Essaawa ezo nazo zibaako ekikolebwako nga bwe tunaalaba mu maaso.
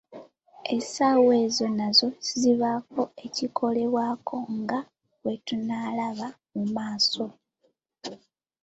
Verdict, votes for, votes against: accepted, 2, 0